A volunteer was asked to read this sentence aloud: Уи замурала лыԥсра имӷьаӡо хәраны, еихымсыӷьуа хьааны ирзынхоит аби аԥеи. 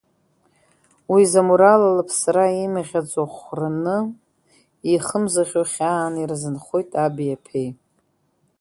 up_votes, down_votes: 2, 3